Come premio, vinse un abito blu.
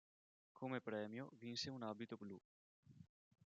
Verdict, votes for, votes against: rejected, 0, 2